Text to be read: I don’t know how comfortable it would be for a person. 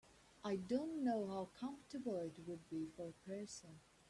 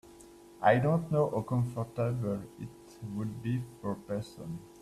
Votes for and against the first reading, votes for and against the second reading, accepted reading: 2, 0, 1, 2, first